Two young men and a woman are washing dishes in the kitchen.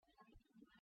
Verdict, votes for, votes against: rejected, 0, 2